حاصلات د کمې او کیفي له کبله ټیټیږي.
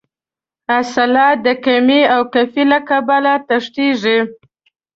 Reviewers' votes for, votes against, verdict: 1, 2, rejected